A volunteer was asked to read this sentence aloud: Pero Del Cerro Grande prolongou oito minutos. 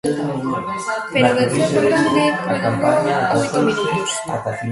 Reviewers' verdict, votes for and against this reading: rejected, 0, 2